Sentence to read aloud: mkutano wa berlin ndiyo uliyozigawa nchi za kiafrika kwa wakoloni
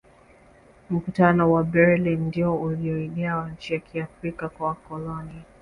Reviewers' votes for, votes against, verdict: 1, 2, rejected